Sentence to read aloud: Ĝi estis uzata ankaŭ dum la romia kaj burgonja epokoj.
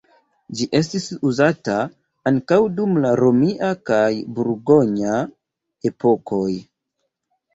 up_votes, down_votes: 1, 2